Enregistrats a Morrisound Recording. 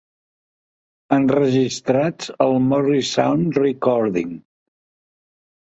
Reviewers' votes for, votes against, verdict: 2, 1, accepted